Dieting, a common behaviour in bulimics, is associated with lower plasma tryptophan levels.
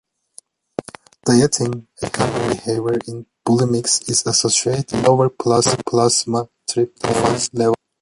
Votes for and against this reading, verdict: 0, 2, rejected